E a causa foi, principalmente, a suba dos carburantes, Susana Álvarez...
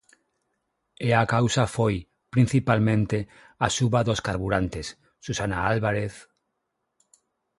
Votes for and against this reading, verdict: 6, 0, accepted